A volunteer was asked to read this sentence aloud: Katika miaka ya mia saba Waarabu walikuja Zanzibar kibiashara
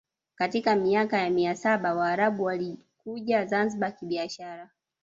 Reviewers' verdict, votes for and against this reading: accepted, 2, 1